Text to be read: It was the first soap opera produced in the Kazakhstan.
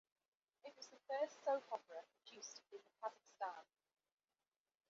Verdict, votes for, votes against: rejected, 0, 2